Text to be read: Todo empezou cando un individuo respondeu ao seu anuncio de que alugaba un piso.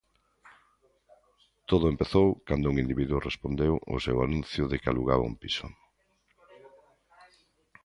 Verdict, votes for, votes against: accepted, 2, 0